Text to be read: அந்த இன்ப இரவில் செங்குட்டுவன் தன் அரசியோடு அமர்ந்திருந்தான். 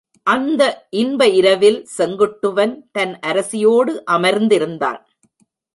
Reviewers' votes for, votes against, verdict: 2, 0, accepted